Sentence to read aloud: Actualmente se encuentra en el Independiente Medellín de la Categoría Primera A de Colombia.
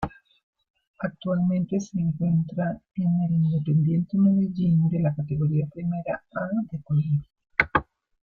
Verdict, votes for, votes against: rejected, 1, 2